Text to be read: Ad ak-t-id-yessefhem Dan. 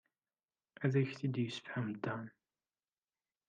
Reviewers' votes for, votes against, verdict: 1, 2, rejected